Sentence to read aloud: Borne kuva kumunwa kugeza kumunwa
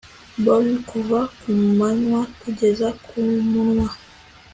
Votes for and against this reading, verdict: 2, 1, accepted